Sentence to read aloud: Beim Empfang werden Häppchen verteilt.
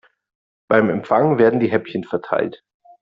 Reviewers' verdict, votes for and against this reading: rejected, 0, 2